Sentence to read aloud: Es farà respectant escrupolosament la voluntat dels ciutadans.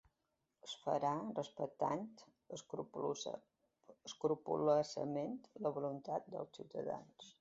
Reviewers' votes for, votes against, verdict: 0, 2, rejected